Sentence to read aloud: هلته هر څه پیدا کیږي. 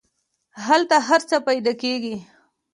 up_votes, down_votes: 2, 0